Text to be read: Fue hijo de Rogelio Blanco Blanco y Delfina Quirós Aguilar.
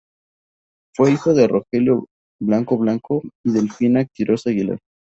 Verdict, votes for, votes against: accepted, 2, 0